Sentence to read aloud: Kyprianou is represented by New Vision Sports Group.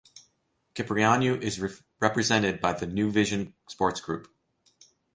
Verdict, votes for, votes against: rejected, 0, 2